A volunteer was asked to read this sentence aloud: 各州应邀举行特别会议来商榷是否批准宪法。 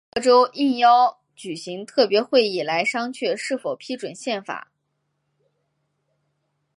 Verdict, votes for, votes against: accepted, 5, 0